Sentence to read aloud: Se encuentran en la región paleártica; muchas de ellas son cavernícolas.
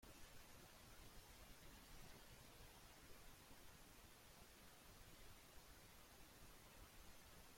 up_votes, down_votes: 0, 2